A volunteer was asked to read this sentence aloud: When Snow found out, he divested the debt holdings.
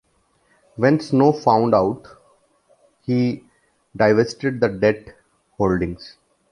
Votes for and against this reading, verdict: 1, 2, rejected